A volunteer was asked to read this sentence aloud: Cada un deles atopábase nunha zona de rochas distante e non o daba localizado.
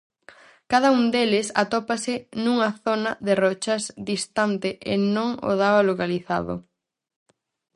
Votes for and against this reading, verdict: 0, 4, rejected